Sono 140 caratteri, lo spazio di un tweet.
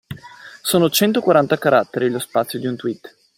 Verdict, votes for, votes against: rejected, 0, 2